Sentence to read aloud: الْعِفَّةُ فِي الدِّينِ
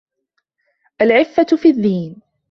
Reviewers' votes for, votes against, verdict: 2, 1, accepted